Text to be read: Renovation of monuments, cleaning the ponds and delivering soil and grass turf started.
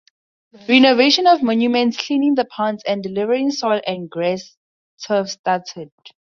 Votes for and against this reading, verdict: 2, 0, accepted